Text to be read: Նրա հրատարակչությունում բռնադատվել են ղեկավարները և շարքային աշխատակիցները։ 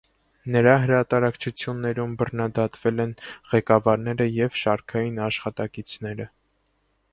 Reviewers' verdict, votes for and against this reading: rejected, 0, 2